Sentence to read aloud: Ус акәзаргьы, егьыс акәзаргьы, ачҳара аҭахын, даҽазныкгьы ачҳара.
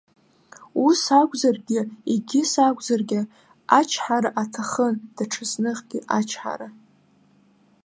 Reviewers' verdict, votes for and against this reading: rejected, 0, 2